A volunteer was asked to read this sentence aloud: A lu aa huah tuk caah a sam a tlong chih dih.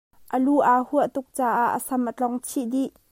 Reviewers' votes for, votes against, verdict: 2, 1, accepted